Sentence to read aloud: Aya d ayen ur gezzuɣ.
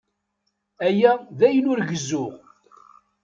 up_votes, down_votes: 2, 0